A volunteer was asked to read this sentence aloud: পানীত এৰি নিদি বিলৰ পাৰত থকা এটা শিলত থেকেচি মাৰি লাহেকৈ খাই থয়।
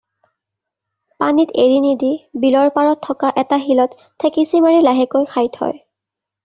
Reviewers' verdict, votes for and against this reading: accepted, 2, 0